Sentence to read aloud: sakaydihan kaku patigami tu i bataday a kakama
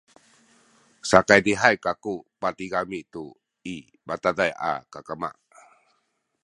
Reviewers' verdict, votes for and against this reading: rejected, 0, 2